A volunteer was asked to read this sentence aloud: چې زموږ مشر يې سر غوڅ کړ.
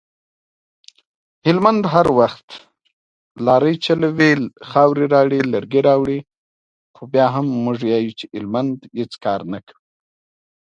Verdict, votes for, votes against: rejected, 2, 3